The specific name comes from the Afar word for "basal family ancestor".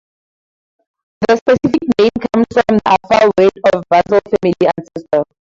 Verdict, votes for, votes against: rejected, 0, 4